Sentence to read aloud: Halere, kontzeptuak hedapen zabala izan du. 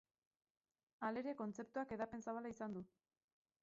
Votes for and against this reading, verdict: 2, 2, rejected